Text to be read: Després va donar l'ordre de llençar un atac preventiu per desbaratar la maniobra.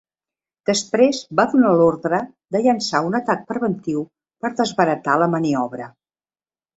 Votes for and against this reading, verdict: 2, 0, accepted